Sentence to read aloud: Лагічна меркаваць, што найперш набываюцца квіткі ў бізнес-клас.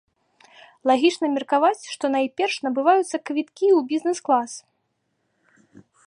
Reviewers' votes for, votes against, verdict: 2, 0, accepted